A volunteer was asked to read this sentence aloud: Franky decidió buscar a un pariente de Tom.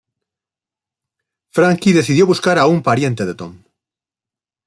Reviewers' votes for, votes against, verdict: 2, 0, accepted